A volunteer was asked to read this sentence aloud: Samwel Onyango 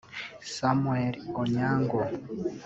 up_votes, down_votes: 1, 2